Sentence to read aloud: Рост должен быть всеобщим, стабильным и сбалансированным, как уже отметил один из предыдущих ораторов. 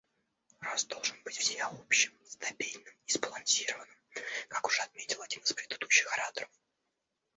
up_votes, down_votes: 2, 0